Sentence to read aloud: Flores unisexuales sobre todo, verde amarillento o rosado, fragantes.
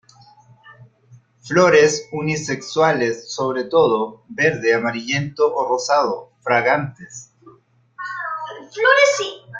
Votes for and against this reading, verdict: 1, 2, rejected